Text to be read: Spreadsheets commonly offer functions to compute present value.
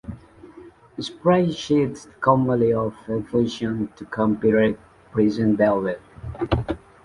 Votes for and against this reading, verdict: 0, 2, rejected